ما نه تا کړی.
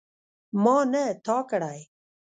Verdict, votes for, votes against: accepted, 3, 2